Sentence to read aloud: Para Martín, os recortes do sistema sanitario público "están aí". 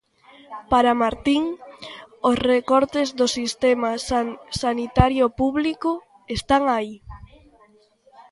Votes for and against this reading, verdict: 0, 2, rejected